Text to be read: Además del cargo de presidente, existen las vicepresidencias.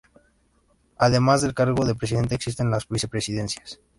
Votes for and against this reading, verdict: 2, 0, accepted